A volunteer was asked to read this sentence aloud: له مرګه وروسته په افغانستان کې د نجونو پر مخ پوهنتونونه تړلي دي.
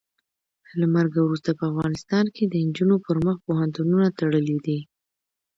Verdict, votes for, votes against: accepted, 2, 0